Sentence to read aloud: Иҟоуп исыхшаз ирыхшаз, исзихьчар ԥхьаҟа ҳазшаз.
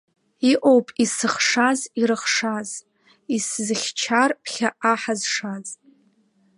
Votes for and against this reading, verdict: 1, 2, rejected